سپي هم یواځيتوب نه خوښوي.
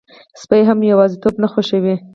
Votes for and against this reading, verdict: 2, 2, rejected